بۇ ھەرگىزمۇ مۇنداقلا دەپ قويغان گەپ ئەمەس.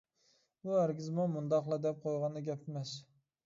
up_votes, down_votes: 0, 2